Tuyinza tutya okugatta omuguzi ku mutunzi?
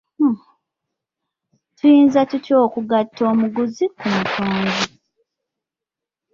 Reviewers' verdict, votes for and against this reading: accepted, 2, 0